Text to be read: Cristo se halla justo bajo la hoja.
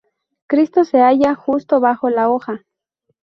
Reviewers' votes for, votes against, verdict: 2, 0, accepted